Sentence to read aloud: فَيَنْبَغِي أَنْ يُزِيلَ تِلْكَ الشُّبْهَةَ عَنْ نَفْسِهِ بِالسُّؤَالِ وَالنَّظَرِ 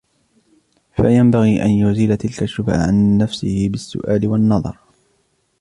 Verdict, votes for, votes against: rejected, 1, 2